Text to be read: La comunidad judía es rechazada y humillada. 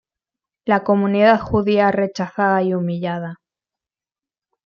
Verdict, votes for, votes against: rejected, 1, 2